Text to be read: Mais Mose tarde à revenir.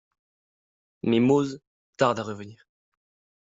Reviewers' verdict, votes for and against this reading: accepted, 2, 0